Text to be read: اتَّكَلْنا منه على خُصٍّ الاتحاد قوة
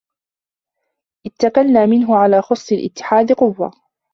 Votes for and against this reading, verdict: 0, 2, rejected